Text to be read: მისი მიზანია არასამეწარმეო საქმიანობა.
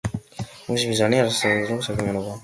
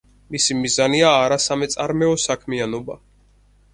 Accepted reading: second